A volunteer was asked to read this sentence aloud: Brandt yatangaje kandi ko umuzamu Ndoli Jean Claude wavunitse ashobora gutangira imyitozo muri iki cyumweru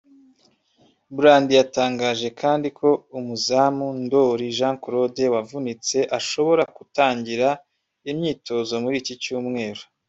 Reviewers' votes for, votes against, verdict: 0, 2, rejected